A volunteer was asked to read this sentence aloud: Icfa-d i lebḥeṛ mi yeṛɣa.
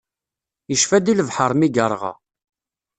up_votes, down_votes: 2, 0